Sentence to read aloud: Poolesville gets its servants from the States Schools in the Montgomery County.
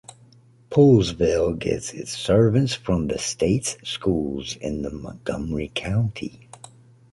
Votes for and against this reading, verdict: 2, 0, accepted